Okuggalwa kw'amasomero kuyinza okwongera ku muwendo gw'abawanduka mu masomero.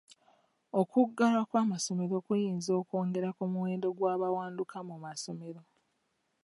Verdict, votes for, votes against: accepted, 2, 0